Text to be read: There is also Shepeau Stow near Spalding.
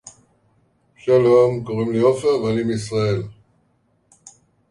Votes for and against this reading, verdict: 0, 2, rejected